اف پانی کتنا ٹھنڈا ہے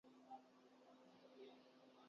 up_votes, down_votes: 0, 3